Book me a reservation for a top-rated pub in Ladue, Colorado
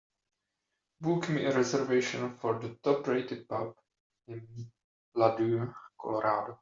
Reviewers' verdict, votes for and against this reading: accepted, 2, 0